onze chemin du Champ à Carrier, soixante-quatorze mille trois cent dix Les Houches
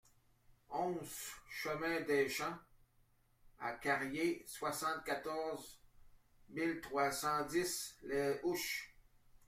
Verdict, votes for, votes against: rejected, 0, 2